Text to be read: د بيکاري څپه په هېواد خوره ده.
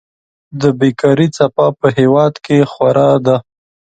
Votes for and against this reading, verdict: 1, 2, rejected